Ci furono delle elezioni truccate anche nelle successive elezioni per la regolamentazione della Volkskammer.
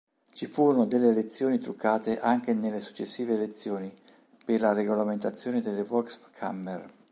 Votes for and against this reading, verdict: 1, 3, rejected